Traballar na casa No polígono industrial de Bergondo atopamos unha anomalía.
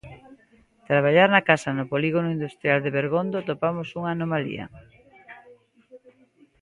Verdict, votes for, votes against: accepted, 2, 0